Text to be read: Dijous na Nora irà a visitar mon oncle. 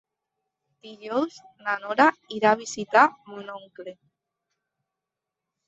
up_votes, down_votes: 1, 2